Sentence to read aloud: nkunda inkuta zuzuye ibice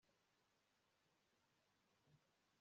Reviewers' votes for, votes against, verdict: 1, 3, rejected